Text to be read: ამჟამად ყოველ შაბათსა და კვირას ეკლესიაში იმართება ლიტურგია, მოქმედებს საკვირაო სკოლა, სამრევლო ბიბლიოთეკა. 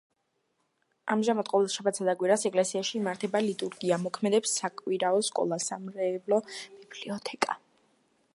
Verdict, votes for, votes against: rejected, 1, 2